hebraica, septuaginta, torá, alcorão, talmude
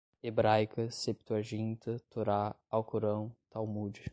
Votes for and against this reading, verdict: 5, 0, accepted